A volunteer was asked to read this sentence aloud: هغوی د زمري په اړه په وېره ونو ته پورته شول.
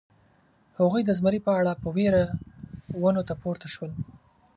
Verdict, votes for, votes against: rejected, 2, 5